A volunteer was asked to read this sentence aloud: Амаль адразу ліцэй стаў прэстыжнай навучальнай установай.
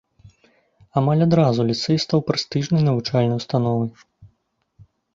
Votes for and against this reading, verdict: 2, 0, accepted